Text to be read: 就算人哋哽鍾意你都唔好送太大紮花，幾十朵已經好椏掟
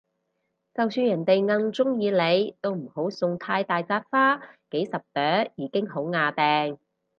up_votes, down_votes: 2, 0